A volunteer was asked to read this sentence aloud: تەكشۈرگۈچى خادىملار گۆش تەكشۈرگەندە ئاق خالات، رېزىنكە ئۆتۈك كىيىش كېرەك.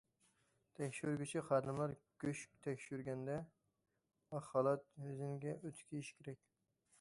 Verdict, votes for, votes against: rejected, 1, 2